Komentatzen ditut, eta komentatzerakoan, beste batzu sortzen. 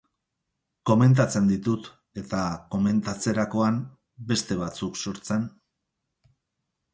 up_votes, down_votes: 2, 2